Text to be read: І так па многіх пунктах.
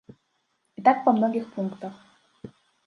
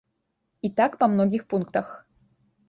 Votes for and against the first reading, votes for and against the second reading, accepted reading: 1, 2, 3, 0, second